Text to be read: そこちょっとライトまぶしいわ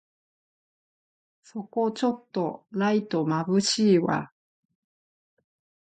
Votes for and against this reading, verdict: 5, 2, accepted